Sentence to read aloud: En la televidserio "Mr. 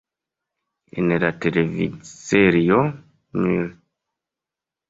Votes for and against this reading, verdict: 0, 3, rejected